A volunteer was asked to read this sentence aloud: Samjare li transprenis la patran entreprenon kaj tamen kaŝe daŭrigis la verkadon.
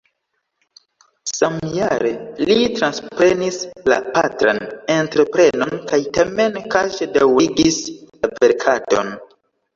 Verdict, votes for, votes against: rejected, 1, 2